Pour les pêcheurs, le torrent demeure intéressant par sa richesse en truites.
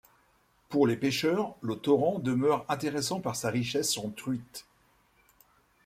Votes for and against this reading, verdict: 1, 2, rejected